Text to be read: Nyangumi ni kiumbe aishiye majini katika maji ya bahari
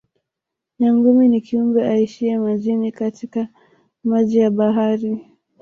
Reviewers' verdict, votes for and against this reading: accepted, 2, 0